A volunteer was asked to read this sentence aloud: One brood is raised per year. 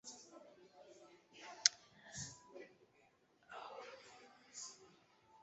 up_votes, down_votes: 0, 2